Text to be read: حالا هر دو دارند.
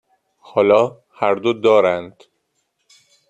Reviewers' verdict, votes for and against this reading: accepted, 2, 0